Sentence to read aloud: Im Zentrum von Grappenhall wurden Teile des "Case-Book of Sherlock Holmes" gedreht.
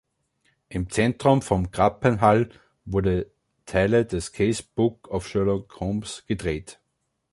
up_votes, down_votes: 2, 3